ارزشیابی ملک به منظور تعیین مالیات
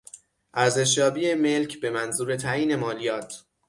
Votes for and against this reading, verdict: 6, 0, accepted